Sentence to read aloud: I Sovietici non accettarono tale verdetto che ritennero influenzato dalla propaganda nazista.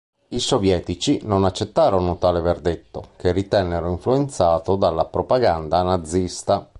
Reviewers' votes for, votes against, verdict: 2, 0, accepted